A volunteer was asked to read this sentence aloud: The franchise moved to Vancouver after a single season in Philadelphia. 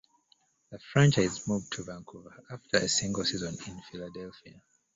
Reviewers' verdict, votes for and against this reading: accepted, 2, 1